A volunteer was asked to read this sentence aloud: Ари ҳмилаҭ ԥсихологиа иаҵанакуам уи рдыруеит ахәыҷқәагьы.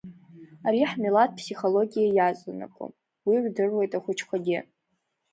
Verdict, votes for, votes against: accepted, 2, 0